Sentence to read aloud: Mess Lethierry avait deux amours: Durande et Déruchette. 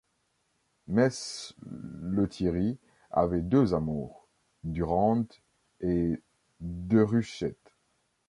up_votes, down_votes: 1, 2